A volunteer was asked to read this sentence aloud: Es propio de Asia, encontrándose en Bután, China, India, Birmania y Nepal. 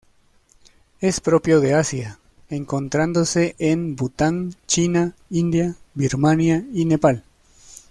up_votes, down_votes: 2, 0